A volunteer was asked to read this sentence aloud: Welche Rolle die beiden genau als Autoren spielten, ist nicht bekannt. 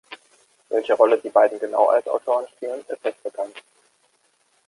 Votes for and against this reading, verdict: 0, 2, rejected